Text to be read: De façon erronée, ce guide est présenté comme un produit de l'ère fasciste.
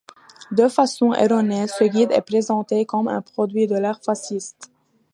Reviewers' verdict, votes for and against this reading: accepted, 2, 0